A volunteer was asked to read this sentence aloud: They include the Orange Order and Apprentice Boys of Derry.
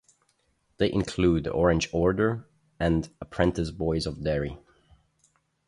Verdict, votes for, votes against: accepted, 2, 0